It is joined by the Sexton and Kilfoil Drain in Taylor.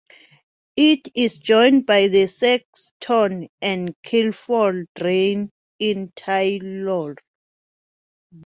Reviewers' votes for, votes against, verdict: 2, 0, accepted